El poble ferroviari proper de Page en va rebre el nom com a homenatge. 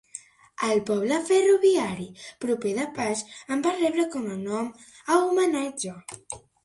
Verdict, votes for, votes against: rejected, 1, 2